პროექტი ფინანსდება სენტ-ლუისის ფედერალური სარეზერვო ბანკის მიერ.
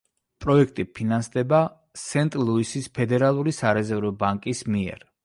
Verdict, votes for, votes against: accepted, 2, 0